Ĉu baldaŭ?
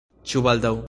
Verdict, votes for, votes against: rejected, 0, 2